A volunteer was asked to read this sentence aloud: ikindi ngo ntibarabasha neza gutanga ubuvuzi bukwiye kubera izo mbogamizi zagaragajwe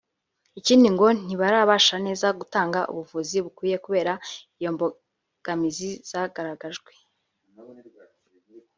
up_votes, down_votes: 1, 2